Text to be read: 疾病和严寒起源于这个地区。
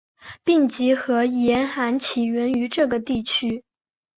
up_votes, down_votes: 2, 1